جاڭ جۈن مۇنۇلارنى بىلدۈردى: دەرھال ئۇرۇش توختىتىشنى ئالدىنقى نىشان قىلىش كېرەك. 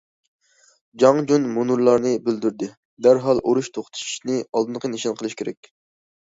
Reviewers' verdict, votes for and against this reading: accepted, 2, 0